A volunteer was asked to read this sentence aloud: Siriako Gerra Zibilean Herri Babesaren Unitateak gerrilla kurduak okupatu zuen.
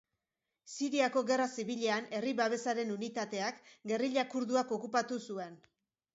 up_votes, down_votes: 2, 0